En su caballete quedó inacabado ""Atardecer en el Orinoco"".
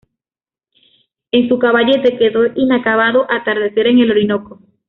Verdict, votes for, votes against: accepted, 2, 0